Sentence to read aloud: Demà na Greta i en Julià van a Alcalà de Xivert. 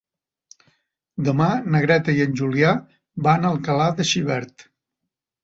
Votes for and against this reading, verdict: 3, 0, accepted